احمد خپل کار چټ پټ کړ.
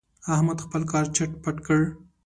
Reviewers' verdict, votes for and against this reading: accepted, 2, 1